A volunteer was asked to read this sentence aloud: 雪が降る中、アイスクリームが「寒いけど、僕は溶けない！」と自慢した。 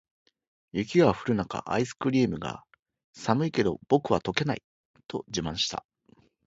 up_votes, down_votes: 2, 0